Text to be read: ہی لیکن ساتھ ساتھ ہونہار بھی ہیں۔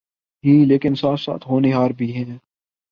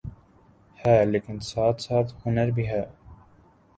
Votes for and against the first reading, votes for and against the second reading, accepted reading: 2, 0, 1, 3, first